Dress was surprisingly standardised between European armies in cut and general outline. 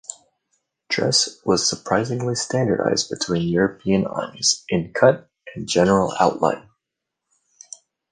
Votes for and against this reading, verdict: 2, 0, accepted